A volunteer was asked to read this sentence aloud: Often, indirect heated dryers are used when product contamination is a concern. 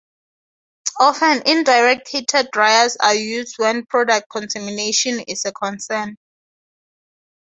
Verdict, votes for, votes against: accepted, 2, 0